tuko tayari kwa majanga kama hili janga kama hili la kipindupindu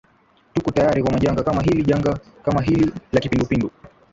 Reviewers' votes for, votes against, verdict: 0, 2, rejected